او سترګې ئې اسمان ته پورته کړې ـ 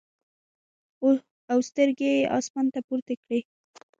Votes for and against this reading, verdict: 1, 2, rejected